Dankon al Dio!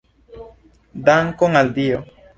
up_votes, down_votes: 2, 0